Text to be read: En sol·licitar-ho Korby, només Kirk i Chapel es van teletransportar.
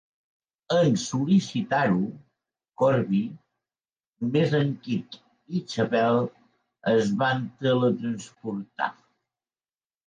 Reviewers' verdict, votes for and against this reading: rejected, 0, 2